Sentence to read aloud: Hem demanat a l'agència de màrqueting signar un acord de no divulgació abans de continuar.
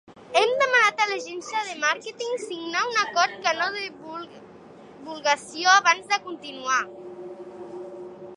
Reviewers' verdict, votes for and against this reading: rejected, 1, 2